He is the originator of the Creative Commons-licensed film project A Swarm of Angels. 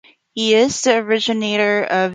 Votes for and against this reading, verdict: 0, 3, rejected